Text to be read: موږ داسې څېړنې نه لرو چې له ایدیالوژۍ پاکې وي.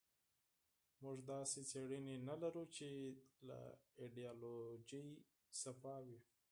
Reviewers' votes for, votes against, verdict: 0, 4, rejected